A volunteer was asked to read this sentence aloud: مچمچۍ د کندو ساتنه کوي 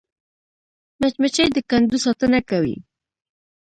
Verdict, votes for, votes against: rejected, 0, 2